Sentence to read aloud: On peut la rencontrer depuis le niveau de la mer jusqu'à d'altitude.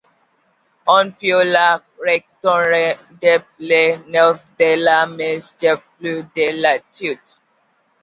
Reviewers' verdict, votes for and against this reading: rejected, 0, 2